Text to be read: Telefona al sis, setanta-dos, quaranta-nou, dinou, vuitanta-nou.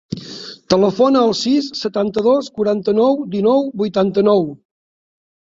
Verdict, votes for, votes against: accepted, 3, 0